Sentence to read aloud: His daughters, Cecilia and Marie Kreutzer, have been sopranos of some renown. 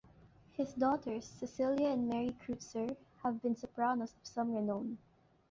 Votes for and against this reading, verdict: 1, 2, rejected